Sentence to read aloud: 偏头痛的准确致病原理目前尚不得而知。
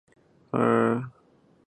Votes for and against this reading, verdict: 0, 2, rejected